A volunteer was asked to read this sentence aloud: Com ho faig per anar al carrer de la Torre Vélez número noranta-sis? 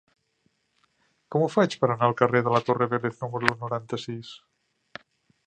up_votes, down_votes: 2, 0